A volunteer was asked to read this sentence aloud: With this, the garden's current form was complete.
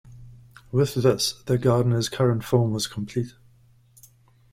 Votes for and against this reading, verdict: 1, 2, rejected